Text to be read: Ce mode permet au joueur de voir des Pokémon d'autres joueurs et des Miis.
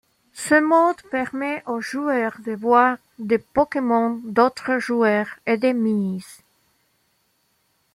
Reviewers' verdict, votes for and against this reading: accepted, 2, 1